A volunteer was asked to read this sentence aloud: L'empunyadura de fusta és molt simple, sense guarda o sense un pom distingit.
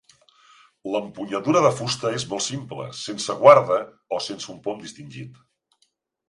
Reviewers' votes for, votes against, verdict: 3, 0, accepted